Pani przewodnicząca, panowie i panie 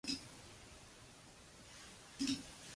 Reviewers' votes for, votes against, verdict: 0, 2, rejected